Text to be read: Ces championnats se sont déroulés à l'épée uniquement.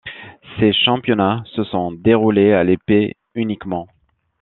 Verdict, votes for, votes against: accepted, 2, 0